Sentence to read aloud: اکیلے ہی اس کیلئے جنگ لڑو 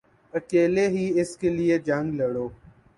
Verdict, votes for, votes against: rejected, 1, 2